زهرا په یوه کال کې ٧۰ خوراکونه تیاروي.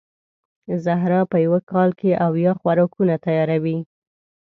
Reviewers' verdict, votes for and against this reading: rejected, 0, 2